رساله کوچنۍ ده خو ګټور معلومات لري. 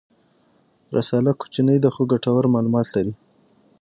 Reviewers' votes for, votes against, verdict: 6, 0, accepted